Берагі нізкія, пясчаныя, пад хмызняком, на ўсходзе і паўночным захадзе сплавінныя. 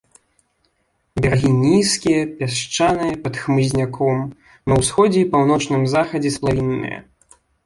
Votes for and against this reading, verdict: 1, 2, rejected